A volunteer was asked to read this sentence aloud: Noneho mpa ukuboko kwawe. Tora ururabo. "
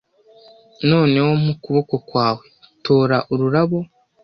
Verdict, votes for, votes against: accepted, 2, 0